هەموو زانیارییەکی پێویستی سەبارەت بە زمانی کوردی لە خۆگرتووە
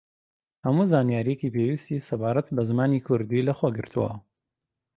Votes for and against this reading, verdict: 2, 0, accepted